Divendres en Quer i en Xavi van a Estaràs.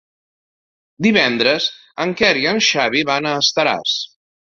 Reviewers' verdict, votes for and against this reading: accepted, 2, 0